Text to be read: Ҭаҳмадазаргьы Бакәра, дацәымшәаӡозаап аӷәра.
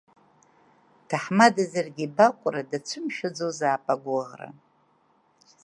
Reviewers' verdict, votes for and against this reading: rejected, 1, 2